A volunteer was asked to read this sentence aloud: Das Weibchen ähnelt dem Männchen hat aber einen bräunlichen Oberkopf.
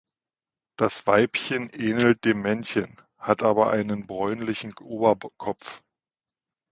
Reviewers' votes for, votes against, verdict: 1, 2, rejected